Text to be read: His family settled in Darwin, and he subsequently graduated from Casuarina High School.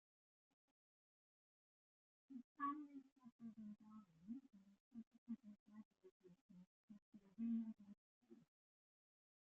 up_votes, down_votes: 0, 2